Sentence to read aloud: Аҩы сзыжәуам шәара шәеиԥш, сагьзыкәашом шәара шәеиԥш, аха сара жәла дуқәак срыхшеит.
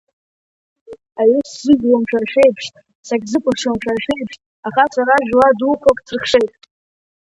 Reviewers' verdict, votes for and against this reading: rejected, 1, 3